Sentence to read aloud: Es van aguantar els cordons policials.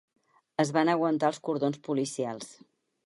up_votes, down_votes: 4, 0